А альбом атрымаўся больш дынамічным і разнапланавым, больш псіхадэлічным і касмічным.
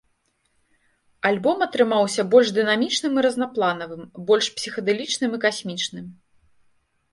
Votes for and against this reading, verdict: 0, 2, rejected